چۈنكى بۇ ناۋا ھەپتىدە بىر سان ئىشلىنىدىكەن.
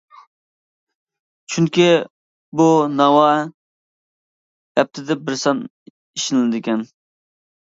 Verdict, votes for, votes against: rejected, 1, 2